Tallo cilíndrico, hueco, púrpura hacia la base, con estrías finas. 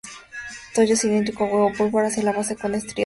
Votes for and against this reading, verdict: 0, 2, rejected